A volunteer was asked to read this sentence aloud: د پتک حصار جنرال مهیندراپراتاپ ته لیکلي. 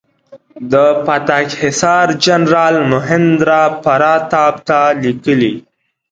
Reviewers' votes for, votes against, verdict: 2, 0, accepted